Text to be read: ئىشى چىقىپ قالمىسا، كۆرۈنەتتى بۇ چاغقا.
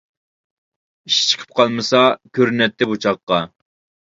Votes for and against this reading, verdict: 2, 0, accepted